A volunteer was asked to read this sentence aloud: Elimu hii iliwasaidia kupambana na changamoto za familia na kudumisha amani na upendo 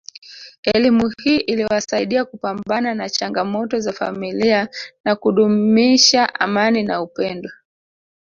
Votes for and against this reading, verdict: 0, 2, rejected